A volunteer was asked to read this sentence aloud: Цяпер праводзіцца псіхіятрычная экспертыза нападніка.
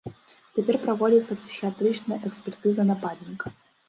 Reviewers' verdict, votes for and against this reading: accepted, 2, 1